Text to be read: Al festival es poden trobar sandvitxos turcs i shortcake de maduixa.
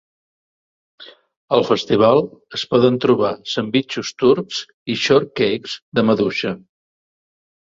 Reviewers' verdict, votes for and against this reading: rejected, 1, 2